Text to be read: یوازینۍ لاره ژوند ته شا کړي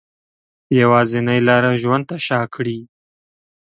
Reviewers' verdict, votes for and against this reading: accepted, 6, 0